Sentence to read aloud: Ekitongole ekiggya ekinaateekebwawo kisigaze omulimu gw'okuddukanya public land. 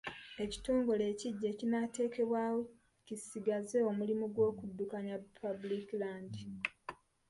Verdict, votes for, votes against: rejected, 1, 2